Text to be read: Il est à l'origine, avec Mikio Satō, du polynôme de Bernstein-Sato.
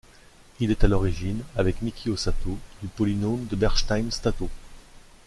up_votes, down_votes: 0, 2